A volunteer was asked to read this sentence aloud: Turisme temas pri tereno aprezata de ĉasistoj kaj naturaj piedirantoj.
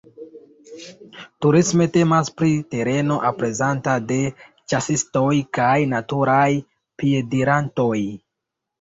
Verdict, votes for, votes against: accepted, 2, 1